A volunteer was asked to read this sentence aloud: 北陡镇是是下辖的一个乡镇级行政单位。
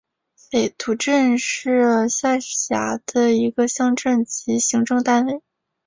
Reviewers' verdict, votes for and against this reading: accepted, 3, 0